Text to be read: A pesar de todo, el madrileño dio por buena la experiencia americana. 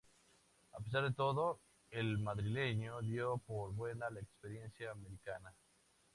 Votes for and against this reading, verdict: 2, 0, accepted